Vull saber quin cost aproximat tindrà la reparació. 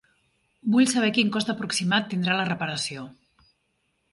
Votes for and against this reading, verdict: 3, 0, accepted